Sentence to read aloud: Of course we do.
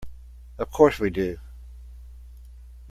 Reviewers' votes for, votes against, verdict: 2, 0, accepted